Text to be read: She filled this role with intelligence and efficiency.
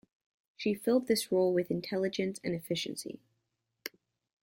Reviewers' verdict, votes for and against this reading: rejected, 1, 2